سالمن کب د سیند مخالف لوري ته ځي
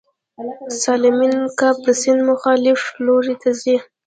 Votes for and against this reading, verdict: 2, 0, accepted